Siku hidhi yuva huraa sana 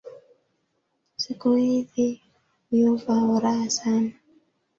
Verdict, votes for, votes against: rejected, 0, 2